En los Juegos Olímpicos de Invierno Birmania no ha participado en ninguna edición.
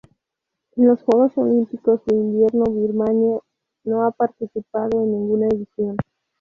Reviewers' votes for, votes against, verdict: 2, 0, accepted